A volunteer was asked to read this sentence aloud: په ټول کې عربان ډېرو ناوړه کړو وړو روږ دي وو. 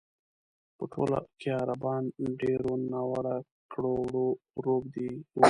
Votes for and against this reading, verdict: 0, 2, rejected